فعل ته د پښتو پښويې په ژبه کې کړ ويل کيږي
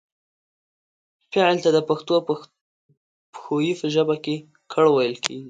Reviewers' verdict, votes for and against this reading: accepted, 2, 1